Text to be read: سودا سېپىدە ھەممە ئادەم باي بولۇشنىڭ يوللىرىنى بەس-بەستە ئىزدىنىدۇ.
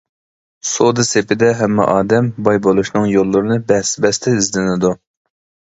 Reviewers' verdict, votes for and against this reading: accepted, 2, 0